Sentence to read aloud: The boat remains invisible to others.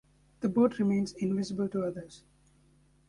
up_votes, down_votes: 2, 0